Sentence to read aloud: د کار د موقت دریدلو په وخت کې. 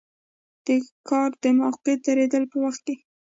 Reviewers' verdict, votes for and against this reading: rejected, 1, 2